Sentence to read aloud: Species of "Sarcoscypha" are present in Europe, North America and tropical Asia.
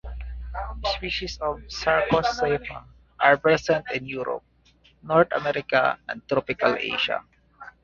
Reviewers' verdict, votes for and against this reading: accepted, 2, 0